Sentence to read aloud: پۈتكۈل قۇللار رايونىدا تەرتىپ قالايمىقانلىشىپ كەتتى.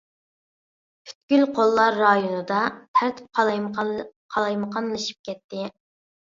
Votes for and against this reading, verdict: 0, 2, rejected